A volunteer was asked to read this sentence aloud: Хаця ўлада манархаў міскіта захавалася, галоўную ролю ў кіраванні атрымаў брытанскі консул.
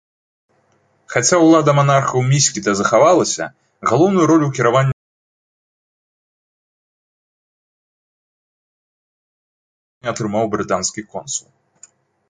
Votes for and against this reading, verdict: 2, 0, accepted